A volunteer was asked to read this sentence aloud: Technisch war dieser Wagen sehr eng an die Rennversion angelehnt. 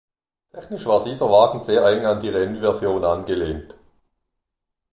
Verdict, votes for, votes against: rejected, 1, 2